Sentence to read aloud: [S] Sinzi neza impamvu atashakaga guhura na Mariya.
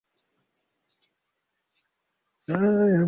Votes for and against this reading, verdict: 1, 2, rejected